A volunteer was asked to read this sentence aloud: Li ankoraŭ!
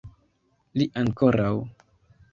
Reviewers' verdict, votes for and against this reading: accepted, 2, 0